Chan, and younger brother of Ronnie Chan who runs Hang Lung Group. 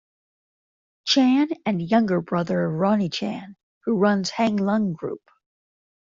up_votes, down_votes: 0, 2